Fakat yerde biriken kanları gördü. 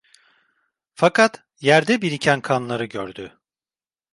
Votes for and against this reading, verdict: 2, 0, accepted